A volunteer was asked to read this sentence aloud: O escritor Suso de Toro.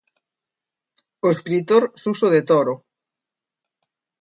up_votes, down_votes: 2, 0